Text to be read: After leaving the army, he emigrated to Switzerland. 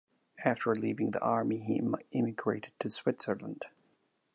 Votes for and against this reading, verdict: 2, 1, accepted